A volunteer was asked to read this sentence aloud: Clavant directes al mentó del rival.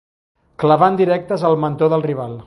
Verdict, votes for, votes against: rejected, 1, 2